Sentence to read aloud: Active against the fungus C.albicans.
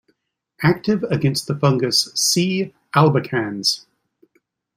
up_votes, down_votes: 2, 0